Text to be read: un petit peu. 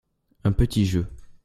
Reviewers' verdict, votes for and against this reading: rejected, 0, 2